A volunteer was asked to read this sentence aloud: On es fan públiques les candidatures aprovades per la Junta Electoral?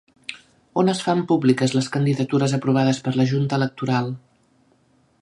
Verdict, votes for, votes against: accepted, 3, 0